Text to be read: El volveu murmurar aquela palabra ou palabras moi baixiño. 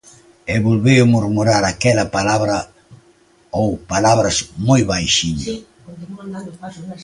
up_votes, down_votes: 0, 2